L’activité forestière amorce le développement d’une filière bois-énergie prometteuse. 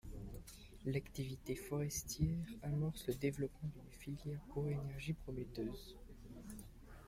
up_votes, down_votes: 0, 2